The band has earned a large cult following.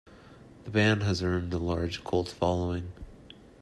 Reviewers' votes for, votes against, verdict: 2, 0, accepted